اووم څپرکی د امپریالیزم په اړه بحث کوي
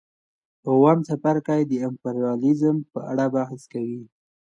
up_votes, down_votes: 2, 0